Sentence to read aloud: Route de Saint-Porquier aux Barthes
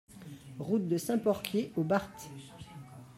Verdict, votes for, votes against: accepted, 2, 1